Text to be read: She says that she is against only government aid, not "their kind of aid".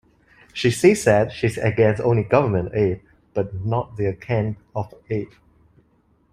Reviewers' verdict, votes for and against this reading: rejected, 0, 2